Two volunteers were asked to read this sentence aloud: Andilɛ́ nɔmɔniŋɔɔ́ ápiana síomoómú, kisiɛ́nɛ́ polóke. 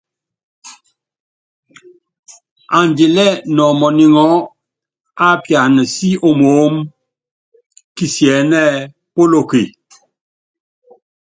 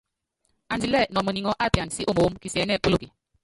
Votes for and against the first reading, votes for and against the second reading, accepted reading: 2, 0, 1, 2, first